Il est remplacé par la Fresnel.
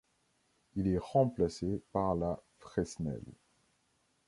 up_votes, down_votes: 1, 2